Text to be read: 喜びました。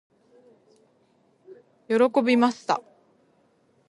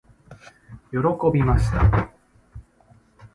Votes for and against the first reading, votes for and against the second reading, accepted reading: 1, 2, 2, 0, second